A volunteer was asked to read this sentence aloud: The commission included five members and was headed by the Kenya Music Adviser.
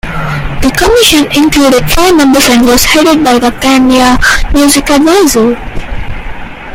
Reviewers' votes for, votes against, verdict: 0, 2, rejected